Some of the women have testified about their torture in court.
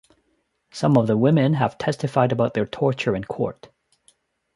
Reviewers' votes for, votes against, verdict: 2, 0, accepted